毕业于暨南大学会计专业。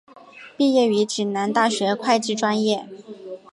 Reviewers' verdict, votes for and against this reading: accepted, 3, 0